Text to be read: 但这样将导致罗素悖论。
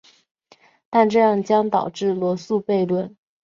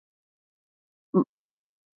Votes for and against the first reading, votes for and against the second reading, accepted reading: 7, 0, 0, 2, first